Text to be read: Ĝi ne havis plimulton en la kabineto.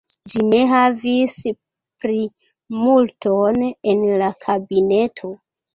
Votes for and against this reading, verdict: 0, 2, rejected